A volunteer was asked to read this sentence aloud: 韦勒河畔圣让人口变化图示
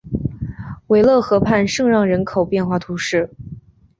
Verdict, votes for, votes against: accepted, 2, 0